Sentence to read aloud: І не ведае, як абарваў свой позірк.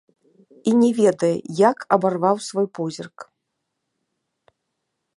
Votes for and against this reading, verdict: 0, 2, rejected